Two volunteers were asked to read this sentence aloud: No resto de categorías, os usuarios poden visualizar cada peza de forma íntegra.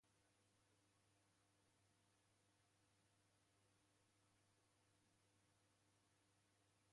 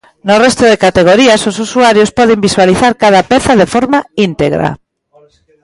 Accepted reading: second